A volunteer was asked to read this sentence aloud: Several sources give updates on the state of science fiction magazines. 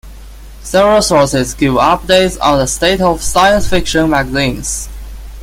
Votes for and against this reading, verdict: 2, 1, accepted